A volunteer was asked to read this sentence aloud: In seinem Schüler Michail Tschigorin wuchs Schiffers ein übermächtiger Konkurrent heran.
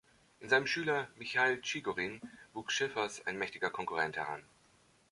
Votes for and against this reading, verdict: 2, 3, rejected